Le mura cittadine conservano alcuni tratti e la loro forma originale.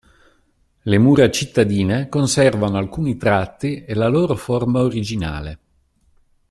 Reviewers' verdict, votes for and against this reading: accepted, 2, 0